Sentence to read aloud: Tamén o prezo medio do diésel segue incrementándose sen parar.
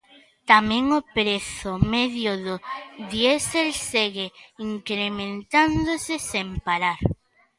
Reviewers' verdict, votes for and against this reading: accepted, 2, 0